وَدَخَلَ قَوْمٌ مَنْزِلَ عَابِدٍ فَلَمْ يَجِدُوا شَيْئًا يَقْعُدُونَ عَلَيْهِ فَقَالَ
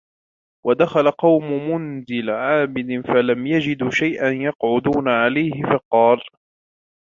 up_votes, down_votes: 1, 2